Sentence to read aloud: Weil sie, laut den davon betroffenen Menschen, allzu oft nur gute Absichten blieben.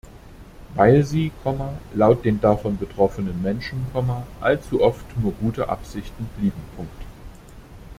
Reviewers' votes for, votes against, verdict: 0, 2, rejected